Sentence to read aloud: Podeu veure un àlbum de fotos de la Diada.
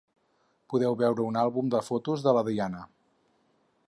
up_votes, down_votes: 4, 2